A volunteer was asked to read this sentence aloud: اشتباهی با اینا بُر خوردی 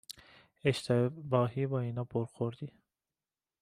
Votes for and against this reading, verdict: 1, 2, rejected